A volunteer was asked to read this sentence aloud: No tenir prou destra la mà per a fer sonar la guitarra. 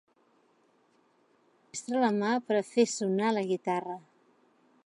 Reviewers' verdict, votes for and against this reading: rejected, 0, 2